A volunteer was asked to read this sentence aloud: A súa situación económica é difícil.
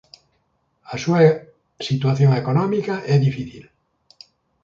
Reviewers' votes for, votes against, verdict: 1, 2, rejected